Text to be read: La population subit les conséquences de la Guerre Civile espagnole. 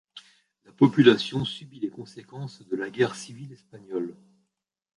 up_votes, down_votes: 0, 2